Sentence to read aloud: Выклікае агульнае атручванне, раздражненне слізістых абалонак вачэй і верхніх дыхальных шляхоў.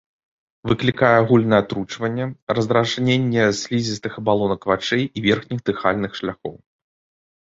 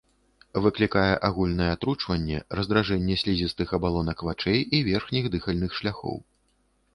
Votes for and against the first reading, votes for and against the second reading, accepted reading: 2, 0, 1, 2, first